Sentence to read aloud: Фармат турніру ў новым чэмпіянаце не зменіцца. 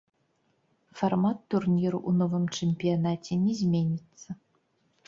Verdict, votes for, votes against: rejected, 1, 2